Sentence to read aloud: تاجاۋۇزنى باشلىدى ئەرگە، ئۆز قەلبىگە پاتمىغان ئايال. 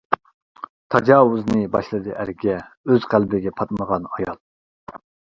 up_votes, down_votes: 2, 0